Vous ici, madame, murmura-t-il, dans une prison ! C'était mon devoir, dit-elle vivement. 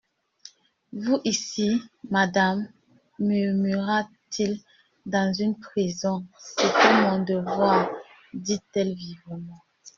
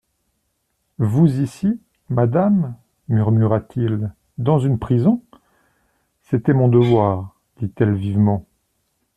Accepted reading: second